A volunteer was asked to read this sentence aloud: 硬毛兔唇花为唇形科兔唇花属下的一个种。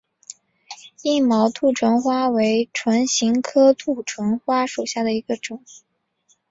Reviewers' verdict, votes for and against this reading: accepted, 4, 0